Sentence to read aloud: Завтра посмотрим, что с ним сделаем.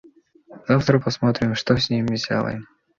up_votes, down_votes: 2, 0